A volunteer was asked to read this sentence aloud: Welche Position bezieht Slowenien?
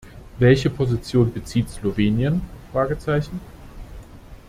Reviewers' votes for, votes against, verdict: 0, 3, rejected